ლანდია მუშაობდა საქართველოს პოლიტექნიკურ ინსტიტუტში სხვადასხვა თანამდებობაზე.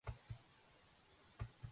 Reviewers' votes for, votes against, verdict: 1, 2, rejected